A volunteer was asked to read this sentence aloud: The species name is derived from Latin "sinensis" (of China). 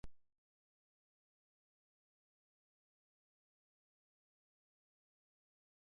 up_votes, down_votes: 0, 2